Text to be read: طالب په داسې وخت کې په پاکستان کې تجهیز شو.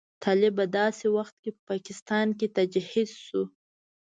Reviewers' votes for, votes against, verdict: 2, 0, accepted